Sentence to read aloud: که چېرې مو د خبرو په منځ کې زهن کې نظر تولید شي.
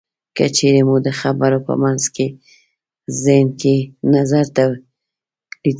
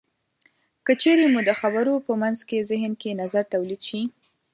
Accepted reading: second